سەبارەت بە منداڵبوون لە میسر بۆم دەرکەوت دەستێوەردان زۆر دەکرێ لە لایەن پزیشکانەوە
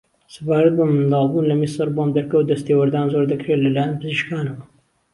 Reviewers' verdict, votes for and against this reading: accepted, 2, 0